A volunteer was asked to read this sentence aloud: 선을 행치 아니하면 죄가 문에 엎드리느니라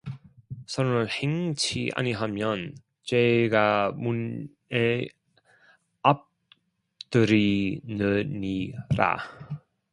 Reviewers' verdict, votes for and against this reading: rejected, 1, 2